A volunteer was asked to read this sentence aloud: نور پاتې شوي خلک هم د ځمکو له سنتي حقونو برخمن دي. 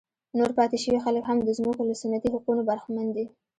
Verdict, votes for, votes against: rejected, 1, 2